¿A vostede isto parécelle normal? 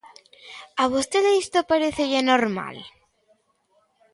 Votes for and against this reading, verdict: 2, 0, accepted